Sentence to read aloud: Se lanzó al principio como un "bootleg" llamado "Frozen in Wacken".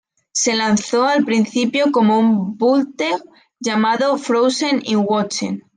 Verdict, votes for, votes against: rejected, 2, 3